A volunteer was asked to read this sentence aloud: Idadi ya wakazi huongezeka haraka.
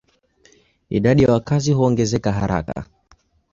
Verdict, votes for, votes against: rejected, 3, 4